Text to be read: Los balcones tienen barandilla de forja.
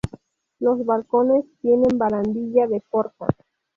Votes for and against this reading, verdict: 2, 0, accepted